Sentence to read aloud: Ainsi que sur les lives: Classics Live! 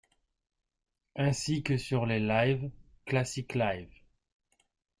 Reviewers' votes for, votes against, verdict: 2, 1, accepted